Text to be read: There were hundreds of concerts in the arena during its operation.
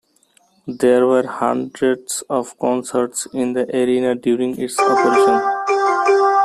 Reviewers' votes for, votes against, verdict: 0, 2, rejected